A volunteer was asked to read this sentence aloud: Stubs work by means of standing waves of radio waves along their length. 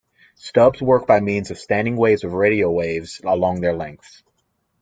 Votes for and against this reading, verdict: 2, 0, accepted